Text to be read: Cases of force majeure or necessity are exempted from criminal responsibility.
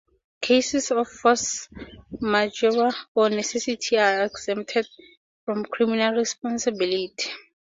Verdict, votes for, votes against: accepted, 2, 0